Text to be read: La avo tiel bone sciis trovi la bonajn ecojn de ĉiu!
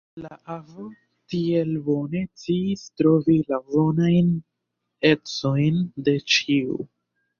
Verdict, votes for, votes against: rejected, 0, 2